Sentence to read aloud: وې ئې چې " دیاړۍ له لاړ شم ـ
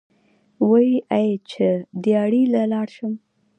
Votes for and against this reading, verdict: 3, 0, accepted